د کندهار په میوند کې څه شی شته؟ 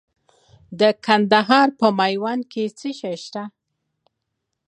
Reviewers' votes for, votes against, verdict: 3, 0, accepted